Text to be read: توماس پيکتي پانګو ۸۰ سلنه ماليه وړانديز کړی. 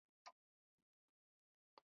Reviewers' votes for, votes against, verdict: 0, 2, rejected